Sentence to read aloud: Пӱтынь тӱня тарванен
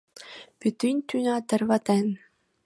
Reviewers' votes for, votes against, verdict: 0, 2, rejected